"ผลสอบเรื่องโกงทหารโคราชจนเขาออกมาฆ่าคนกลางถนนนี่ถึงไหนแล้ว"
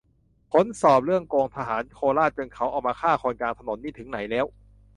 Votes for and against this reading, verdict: 2, 0, accepted